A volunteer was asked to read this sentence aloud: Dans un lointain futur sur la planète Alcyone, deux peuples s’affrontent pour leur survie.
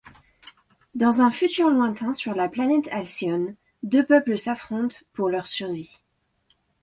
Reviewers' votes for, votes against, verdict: 0, 2, rejected